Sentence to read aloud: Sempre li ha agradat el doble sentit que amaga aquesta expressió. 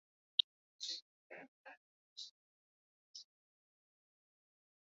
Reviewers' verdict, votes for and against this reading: rejected, 0, 2